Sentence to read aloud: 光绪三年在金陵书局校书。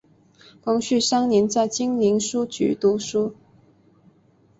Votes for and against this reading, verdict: 0, 3, rejected